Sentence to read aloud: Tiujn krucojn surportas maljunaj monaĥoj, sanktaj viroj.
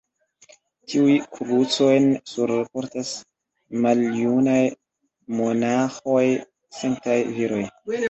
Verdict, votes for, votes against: rejected, 0, 2